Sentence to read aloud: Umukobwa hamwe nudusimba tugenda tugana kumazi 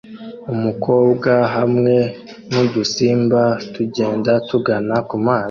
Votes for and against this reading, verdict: 2, 0, accepted